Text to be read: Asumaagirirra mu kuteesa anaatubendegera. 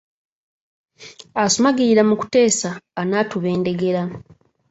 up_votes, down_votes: 1, 2